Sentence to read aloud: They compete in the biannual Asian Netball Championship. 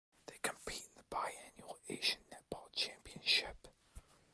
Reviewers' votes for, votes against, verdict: 0, 2, rejected